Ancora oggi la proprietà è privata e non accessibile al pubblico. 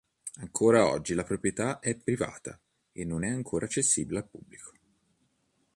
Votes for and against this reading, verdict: 1, 3, rejected